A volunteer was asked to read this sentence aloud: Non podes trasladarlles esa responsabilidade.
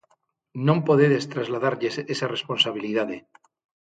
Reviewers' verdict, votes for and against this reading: rejected, 0, 6